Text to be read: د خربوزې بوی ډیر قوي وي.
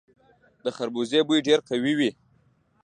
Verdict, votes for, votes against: accepted, 2, 0